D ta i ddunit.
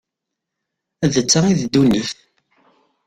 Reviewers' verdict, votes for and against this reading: rejected, 0, 2